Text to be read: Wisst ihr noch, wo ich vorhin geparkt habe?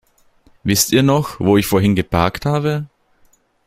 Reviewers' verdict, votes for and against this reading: accepted, 2, 0